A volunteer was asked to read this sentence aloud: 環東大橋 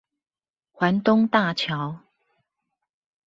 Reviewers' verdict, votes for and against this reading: accepted, 2, 0